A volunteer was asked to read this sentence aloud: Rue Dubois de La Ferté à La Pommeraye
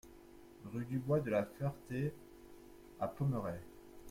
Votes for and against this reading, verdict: 0, 2, rejected